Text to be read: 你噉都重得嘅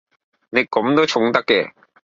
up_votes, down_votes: 0, 2